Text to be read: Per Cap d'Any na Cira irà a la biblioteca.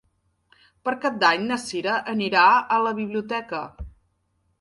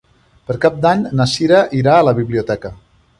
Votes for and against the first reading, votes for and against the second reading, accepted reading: 0, 2, 3, 1, second